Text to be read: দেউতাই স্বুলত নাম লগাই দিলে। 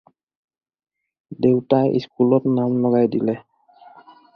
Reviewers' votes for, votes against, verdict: 2, 4, rejected